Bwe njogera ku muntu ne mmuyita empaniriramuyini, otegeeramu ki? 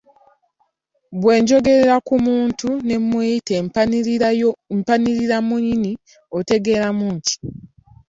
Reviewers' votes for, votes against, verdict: 0, 2, rejected